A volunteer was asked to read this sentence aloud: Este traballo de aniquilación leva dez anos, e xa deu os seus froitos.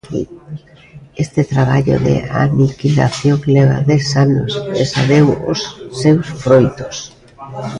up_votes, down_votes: 0, 2